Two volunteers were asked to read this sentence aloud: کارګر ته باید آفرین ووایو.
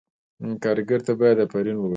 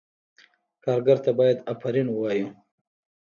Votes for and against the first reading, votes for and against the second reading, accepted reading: 2, 0, 1, 2, first